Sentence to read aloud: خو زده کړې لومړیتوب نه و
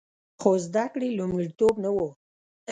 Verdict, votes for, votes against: accepted, 2, 0